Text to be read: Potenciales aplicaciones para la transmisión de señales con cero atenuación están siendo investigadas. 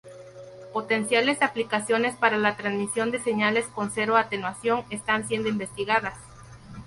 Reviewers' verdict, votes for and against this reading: accepted, 2, 0